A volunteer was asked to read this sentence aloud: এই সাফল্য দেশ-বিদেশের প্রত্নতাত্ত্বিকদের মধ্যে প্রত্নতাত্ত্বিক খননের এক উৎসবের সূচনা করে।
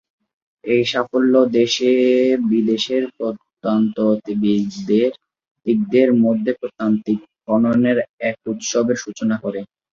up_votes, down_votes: 0, 2